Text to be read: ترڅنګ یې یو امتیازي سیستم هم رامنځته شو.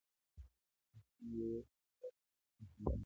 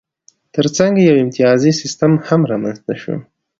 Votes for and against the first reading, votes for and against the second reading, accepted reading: 1, 2, 2, 0, second